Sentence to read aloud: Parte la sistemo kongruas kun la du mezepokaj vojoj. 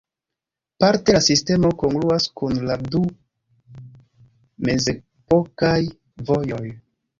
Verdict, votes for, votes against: rejected, 1, 2